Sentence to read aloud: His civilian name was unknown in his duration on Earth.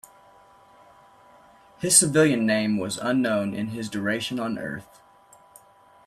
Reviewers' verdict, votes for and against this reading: accepted, 2, 0